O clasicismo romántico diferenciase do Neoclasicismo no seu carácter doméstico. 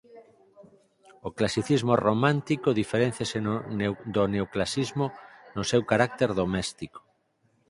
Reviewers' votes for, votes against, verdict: 0, 4, rejected